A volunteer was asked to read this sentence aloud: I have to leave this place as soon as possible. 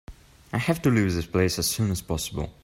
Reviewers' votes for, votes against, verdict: 1, 2, rejected